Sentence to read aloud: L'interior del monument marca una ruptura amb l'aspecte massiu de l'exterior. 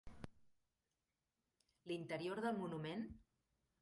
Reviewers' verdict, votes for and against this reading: rejected, 0, 2